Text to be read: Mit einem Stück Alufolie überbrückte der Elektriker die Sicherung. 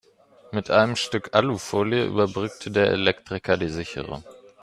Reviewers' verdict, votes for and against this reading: accepted, 2, 0